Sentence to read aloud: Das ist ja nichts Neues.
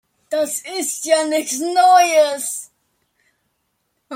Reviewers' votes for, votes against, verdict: 1, 2, rejected